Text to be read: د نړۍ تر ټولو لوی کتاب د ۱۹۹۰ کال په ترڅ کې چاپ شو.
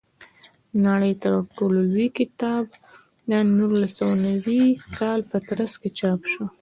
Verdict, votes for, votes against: rejected, 0, 2